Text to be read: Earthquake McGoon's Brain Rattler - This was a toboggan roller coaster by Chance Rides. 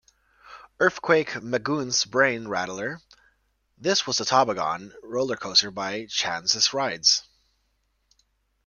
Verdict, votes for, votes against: rejected, 0, 2